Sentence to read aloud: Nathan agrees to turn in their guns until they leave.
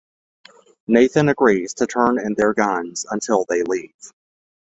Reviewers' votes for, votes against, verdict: 2, 0, accepted